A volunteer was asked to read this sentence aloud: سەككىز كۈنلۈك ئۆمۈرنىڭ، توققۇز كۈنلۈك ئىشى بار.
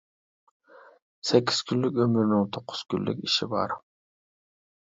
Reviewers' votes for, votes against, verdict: 2, 0, accepted